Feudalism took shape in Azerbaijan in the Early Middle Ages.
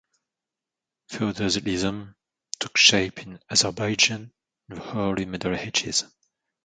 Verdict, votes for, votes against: rejected, 1, 2